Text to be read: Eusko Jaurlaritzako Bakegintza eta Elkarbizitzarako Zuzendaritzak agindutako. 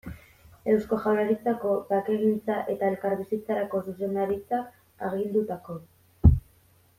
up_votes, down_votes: 2, 0